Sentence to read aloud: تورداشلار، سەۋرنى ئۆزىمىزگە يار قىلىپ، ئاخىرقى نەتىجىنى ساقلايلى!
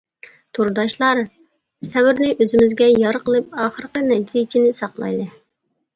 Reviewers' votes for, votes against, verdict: 2, 0, accepted